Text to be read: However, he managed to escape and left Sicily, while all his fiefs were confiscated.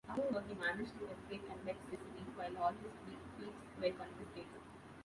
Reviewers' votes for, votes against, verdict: 0, 2, rejected